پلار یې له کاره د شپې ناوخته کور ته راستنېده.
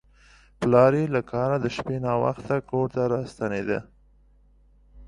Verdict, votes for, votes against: accepted, 2, 0